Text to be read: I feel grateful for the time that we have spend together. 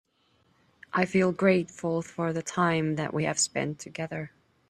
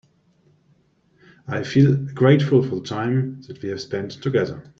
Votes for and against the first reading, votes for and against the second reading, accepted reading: 2, 0, 1, 2, first